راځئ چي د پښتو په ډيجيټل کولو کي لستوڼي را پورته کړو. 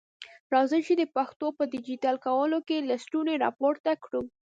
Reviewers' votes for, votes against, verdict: 2, 0, accepted